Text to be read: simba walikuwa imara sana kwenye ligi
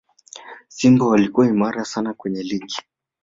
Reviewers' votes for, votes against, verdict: 0, 2, rejected